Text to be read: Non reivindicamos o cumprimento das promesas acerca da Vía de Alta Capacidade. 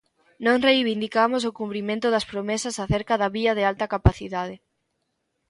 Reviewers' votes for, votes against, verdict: 2, 0, accepted